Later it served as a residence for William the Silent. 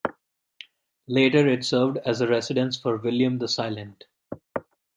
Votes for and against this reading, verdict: 2, 0, accepted